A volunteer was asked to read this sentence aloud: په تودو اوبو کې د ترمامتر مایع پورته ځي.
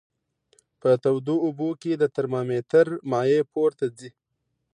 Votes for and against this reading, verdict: 2, 0, accepted